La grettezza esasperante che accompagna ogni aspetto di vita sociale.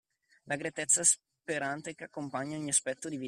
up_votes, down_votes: 0, 2